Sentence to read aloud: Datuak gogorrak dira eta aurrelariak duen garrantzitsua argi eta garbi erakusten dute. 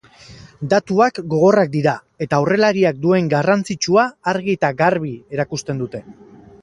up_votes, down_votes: 8, 0